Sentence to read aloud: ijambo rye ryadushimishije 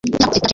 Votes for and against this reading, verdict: 0, 2, rejected